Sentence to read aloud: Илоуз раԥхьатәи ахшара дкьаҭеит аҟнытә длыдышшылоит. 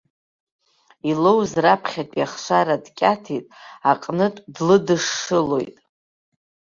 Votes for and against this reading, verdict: 1, 2, rejected